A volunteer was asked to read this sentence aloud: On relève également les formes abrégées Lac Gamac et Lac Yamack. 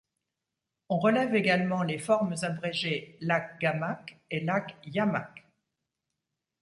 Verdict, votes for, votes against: accepted, 2, 0